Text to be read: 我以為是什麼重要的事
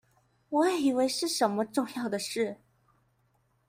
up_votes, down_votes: 2, 0